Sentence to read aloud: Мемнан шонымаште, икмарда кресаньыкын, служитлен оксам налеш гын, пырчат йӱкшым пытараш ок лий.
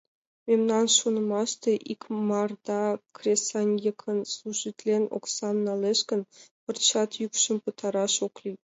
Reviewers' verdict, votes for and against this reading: rejected, 1, 2